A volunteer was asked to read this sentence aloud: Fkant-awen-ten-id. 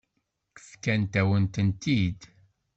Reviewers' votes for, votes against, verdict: 1, 2, rejected